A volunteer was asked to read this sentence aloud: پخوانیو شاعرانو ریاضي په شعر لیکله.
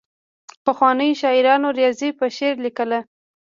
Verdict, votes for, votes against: rejected, 1, 2